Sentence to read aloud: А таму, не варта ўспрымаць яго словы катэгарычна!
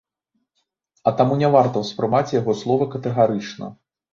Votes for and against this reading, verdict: 2, 1, accepted